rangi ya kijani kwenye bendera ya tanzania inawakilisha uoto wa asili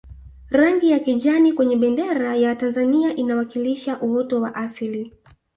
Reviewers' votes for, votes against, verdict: 2, 0, accepted